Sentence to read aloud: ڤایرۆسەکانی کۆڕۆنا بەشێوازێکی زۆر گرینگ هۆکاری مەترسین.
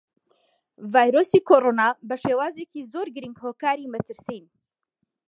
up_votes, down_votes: 0, 2